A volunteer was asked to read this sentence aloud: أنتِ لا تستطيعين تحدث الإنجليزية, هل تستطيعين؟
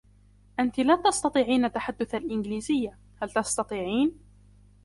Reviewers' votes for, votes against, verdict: 2, 0, accepted